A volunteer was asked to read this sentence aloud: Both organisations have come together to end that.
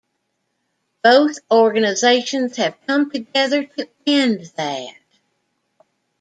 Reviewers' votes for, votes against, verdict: 0, 2, rejected